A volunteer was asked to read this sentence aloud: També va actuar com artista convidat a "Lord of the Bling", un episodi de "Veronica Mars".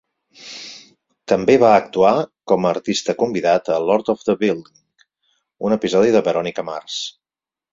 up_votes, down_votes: 2, 4